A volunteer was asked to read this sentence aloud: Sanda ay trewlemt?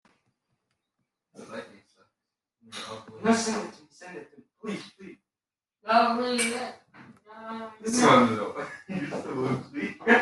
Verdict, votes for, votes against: rejected, 0, 2